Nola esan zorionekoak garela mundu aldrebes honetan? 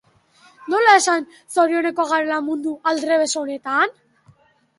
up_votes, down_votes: 2, 0